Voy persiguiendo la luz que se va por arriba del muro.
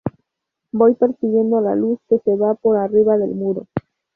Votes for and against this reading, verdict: 0, 2, rejected